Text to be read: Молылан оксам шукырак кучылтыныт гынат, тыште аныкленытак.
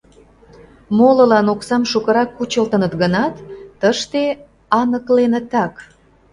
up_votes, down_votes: 2, 0